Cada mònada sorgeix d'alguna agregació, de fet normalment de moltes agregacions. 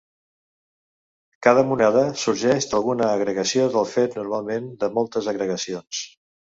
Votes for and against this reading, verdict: 0, 2, rejected